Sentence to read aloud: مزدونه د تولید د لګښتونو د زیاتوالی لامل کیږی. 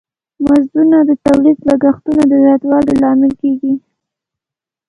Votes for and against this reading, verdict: 1, 2, rejected